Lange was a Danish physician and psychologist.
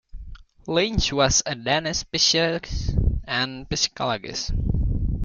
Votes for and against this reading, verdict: 0, 3, rejected